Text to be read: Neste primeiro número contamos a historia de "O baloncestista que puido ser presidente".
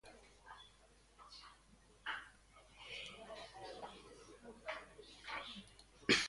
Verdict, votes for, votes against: rejected, 0, 2